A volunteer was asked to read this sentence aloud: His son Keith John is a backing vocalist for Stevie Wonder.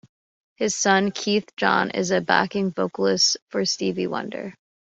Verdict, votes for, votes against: accepted, 2, 0